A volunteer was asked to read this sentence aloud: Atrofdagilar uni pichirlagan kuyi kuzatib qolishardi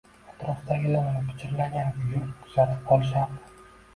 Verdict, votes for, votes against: rejected, 1, 2